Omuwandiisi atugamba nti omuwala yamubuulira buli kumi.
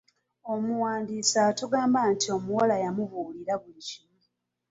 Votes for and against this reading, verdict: 0, 2, rejected